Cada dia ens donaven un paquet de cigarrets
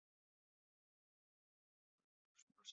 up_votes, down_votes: 0, 2